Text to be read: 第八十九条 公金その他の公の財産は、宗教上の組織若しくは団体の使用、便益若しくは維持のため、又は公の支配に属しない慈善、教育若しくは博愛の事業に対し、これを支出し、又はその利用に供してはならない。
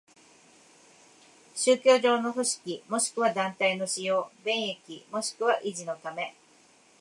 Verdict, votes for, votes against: rejected, 1, 3